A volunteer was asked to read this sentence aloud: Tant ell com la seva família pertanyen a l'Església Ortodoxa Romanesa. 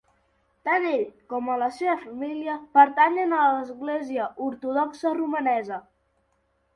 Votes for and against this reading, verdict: 1, 2, rejected